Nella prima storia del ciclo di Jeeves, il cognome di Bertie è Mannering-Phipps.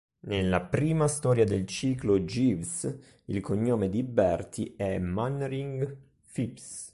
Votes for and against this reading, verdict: 1, 2, rejected